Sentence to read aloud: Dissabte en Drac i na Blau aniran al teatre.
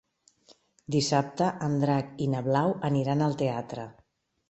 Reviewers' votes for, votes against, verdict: 3, 0, accepted